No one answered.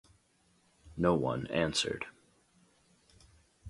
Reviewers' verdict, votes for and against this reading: accepted, 2, 0